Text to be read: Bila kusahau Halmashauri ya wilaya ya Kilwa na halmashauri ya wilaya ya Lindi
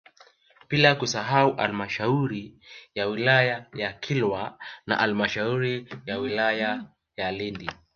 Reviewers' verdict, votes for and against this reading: accepted, 2, 1